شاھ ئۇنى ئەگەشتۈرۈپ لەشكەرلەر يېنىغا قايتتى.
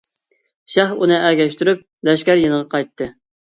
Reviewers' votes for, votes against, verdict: 0, 2, rejected